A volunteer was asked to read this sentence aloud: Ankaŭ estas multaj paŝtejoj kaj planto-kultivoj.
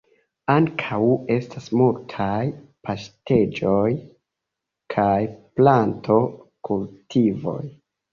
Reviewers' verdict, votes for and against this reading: rejected, 1, 2